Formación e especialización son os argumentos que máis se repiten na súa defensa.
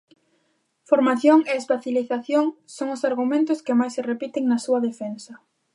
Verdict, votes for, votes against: rejected, 0, 2